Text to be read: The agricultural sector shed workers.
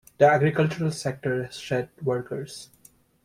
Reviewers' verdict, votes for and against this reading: accepted, 2, 0